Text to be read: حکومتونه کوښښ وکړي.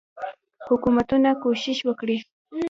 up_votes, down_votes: 1, 2